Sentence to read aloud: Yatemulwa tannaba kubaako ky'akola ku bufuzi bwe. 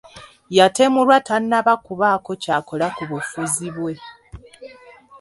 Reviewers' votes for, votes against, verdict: 3, 0, accepted